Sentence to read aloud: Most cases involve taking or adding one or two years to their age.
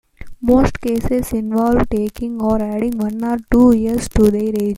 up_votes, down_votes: 2, 0